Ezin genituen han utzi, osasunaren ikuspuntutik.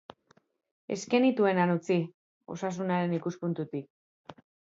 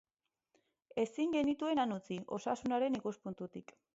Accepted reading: second